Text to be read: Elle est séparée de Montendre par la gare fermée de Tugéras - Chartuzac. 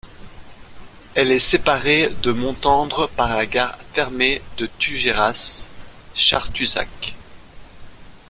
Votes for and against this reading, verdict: 2, 0, accepted